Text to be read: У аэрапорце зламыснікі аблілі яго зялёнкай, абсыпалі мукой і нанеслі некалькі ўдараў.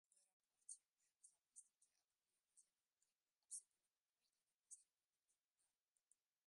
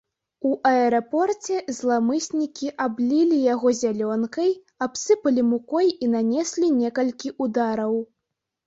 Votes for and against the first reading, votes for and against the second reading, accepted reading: 1, 2, 2, 0, second